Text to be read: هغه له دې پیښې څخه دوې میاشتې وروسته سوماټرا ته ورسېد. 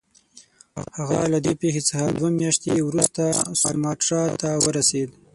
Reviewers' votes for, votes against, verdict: 3, 6, rejected